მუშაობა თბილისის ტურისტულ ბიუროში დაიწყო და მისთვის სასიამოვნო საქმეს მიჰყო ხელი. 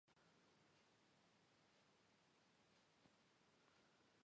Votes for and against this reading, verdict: 1, 2, rejected